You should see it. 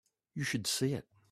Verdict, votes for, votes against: accepted, 2, 0